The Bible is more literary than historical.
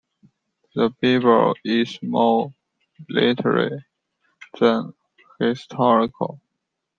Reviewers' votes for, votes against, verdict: 0, 2, rejected